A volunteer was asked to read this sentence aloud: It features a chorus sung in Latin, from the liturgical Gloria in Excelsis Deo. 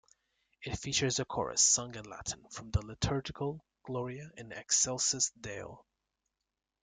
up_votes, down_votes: 1, 2